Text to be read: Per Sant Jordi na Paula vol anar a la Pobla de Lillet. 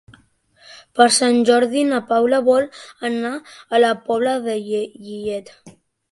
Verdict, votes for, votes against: accepted, 2, 1